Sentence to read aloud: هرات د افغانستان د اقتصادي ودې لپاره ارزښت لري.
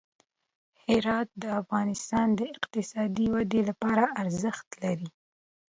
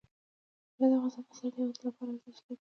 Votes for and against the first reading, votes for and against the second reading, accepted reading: 2, 0, 1, 2, first